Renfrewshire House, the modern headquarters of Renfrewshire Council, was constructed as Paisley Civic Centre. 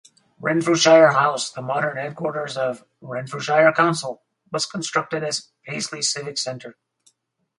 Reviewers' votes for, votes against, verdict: 2, 2, rejected